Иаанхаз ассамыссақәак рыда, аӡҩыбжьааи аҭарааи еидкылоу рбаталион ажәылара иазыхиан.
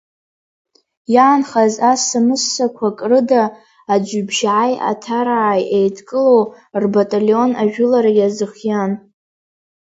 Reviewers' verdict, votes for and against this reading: accepted, 3, 0